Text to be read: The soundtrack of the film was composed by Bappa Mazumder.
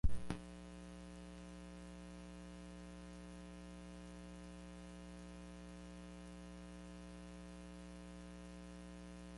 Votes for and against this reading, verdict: 0, 2, rejected